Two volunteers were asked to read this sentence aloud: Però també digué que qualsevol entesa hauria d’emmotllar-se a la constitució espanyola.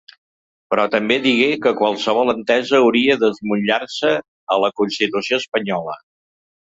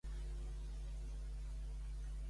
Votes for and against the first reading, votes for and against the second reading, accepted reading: 2, 1, 0, 2, first